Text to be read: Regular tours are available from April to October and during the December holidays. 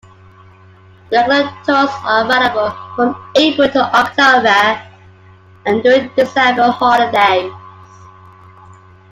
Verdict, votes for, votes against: rejected, 1, 2